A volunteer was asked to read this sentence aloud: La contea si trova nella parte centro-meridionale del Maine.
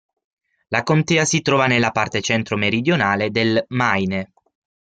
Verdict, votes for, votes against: accepted, 6, 3